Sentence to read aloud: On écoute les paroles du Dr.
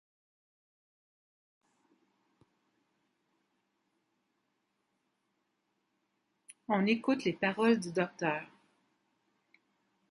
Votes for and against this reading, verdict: 1, 2, rejected